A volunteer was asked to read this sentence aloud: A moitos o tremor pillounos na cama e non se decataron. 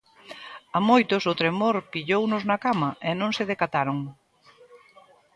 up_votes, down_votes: 2, 0